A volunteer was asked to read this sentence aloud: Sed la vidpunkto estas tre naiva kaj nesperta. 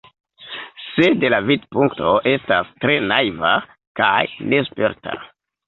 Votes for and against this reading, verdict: 0, 2, rejected